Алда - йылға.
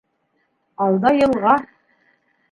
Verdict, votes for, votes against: rejected, 0, 2